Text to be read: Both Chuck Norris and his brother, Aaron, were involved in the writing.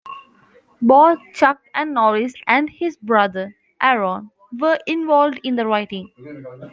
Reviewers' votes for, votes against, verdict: 1, 2, rejected